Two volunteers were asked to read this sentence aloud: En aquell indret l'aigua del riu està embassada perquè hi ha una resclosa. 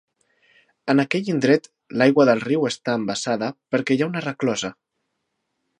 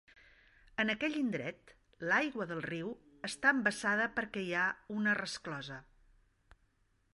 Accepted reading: second